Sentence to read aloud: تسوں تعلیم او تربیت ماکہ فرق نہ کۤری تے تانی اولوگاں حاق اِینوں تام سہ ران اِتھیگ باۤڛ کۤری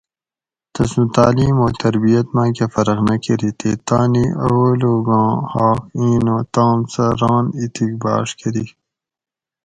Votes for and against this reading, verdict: 2, 2, rejected